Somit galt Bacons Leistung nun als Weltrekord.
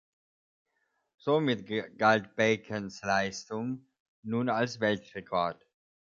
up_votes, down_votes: 0, 2